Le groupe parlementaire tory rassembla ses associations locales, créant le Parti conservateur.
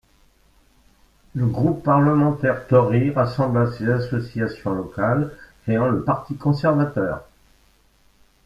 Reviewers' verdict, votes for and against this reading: rejected, 1, 2